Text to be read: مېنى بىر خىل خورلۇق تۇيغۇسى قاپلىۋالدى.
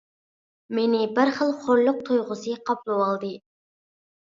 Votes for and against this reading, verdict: 2, 0, accepted